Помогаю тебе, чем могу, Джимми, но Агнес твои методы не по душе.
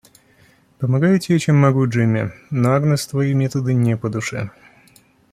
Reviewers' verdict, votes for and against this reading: accepted, 2, 0